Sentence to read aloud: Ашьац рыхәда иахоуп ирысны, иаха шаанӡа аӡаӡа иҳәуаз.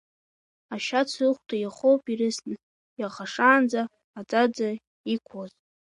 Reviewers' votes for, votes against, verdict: 1, 4, rejected